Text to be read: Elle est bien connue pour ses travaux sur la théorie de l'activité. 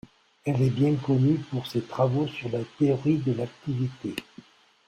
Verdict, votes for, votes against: accepted, 2, 0